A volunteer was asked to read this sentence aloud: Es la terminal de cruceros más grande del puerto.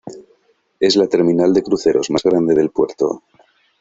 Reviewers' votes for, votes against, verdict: 2, 0, accepted